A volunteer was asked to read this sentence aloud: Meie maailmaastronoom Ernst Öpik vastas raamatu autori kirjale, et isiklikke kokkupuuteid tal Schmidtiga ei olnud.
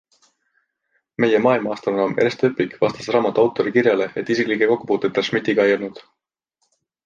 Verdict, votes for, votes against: accepted, 2, 1